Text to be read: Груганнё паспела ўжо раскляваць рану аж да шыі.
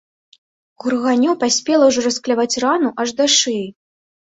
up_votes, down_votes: 2, 0